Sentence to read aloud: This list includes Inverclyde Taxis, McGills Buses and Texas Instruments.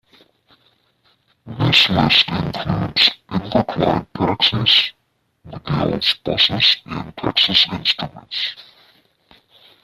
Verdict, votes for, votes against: rejected, 1, 2